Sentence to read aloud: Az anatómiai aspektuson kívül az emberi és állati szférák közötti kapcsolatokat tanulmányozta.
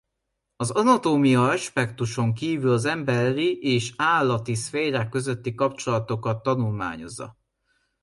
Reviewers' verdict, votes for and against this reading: rejected, 0, 2